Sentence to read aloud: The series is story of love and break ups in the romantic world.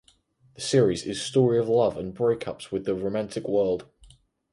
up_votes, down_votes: 0, 4